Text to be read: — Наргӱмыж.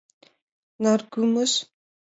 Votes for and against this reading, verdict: 2, 0, accepted